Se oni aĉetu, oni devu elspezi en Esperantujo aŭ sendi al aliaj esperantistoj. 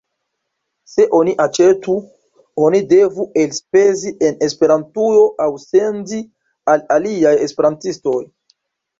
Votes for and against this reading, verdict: 2, 0, accepted